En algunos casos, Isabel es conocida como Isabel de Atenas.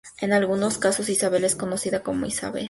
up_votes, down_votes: 0, 2